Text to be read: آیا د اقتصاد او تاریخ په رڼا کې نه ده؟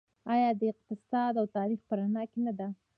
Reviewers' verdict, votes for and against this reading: rejected, 1, 2